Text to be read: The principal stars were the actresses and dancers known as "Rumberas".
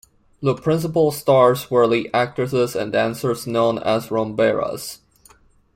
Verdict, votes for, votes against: accepted, 2, 0